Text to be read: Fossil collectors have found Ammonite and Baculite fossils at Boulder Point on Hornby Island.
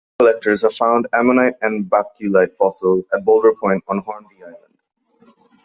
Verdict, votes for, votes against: rejected, 0, 2